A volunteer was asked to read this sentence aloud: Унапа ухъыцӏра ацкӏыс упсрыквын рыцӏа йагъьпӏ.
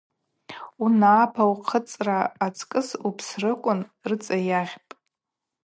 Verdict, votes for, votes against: accepted, 2, 0